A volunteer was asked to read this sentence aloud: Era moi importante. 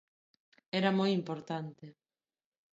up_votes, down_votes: 2, 0